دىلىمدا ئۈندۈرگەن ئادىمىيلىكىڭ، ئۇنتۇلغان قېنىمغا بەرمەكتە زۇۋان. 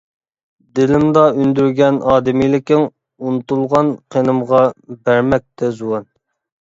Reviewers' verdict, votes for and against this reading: accepted, 2, 0